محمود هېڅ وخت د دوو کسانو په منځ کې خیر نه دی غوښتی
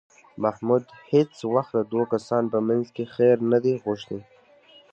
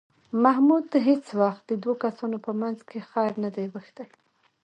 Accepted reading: first